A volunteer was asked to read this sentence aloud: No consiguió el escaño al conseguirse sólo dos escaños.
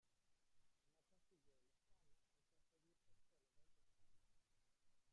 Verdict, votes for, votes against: rejected, 0, 2